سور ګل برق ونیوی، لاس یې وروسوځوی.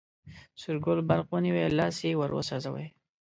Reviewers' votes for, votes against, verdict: 2, 0, accepted